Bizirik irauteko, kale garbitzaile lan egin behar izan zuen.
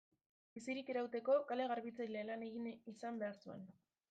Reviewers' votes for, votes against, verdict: 0, 2, rejected